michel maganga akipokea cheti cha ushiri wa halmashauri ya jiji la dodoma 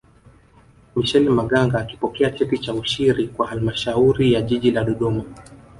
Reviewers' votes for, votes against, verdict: 2, 0, accepted